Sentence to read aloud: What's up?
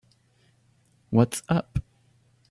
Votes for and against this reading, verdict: 2, 0, accepted